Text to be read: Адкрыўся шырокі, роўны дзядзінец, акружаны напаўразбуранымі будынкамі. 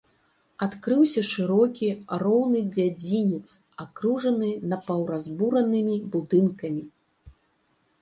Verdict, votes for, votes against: accepted, 3, 0